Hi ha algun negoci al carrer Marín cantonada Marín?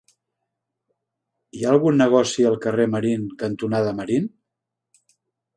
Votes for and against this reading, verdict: 2, 0, accepted